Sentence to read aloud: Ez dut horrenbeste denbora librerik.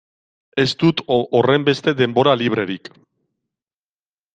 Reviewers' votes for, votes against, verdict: 0, 2, rejected